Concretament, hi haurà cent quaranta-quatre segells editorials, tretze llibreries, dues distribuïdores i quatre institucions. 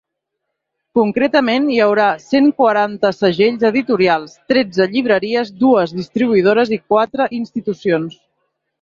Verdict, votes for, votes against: rejected, 1, 2